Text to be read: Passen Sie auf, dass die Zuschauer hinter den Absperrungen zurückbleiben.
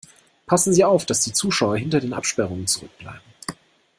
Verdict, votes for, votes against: accepted, 2, 0